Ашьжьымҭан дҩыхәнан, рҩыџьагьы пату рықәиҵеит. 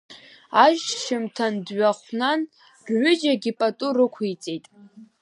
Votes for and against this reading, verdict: 2, 0, accepted